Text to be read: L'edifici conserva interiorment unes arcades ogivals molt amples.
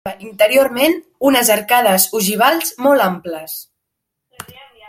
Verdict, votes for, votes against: rejected, 0, 2